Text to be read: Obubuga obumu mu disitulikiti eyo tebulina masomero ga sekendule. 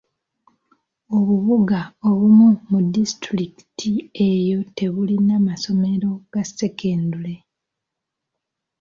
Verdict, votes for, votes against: accepted, 2, 0